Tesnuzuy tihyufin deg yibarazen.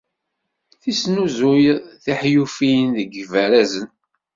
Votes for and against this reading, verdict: 1, 2, rejected